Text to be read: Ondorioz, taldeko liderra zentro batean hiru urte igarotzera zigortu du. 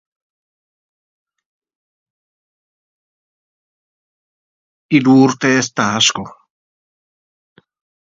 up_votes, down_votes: 1, 2